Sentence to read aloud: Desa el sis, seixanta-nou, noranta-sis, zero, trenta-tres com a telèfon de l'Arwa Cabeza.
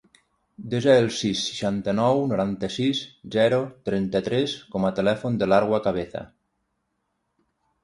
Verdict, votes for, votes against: rejected, 3, 3